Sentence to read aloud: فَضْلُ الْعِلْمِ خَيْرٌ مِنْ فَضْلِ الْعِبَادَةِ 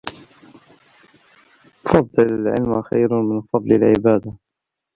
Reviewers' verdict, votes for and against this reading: rejected, 0, 2